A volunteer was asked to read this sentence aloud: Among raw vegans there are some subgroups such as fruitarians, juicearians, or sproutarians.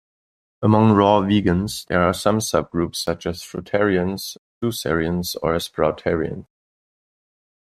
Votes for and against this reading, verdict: 2, 0, accepted